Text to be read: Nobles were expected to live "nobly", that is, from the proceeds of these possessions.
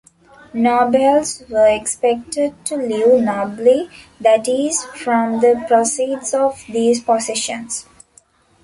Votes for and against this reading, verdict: 2, 1, accepted